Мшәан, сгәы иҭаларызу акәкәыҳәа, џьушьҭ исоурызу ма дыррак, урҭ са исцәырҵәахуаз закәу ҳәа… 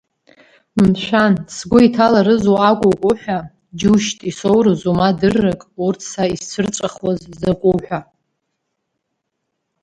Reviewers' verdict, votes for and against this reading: rejected, 0, 2